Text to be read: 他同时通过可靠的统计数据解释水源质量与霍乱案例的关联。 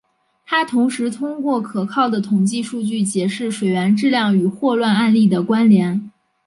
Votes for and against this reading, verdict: 2, 1, accepted